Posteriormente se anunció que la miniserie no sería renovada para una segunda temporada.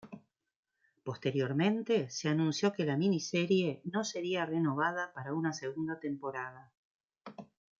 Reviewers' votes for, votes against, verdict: 1, 2, rejected